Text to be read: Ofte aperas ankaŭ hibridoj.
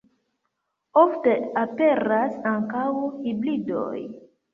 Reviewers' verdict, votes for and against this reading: accepted, 2, 0